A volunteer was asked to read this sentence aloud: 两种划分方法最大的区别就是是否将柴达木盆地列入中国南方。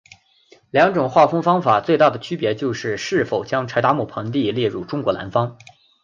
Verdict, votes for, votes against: accepted, 8, 0